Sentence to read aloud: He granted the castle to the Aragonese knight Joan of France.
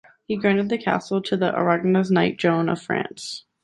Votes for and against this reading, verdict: 2, 0, accepted